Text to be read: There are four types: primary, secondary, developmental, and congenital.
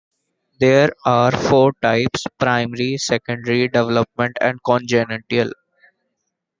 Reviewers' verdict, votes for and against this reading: accepted, 2, 1